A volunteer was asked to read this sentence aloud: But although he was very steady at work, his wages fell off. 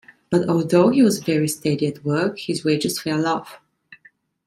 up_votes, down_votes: 2, 0